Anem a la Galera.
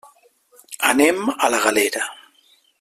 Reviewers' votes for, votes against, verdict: 3, 0, accepted